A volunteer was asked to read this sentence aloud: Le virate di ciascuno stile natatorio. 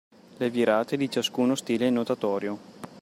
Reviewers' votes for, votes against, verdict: 0, 2, rejected